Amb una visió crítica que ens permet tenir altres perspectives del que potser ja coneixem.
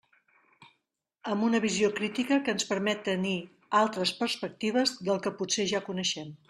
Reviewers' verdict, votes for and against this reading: accepted, 3, 0